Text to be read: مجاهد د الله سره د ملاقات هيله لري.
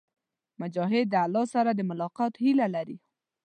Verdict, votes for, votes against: accepted, 3, 0